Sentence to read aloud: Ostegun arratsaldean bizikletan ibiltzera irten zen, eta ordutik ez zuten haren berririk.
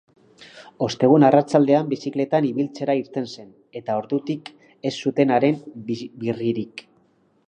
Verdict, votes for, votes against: rejected, 0, 2